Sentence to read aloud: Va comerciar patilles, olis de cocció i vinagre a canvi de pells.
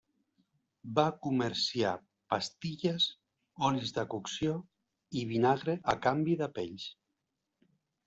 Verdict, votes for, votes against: rejected, 0, 2